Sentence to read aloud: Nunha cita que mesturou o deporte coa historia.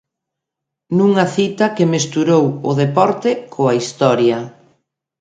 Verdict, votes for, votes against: accepted, 2, 0